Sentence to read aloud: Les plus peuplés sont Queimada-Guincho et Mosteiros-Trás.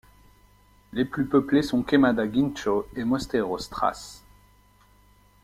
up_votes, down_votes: 2, 0